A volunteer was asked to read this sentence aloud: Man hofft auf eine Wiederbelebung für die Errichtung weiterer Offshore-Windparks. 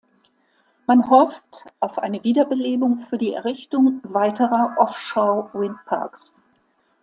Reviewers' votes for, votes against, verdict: 2, 0, accepted